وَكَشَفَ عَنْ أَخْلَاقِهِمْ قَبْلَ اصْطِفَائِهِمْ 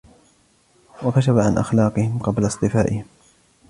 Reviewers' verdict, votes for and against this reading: accepted, 2, 0